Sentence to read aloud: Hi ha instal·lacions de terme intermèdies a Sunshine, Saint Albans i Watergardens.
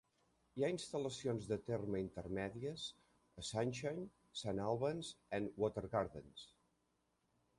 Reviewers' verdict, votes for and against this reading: rejected, 1, 2